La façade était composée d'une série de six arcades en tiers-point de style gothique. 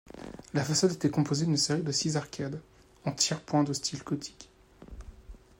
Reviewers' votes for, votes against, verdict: 2, 0, accepted